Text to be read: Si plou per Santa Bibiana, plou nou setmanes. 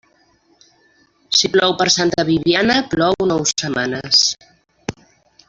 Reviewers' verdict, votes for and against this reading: rejected, 1, 2